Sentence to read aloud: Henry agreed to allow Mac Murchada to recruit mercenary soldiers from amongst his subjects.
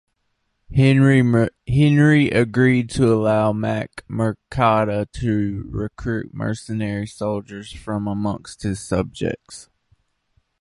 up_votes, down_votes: 0, 2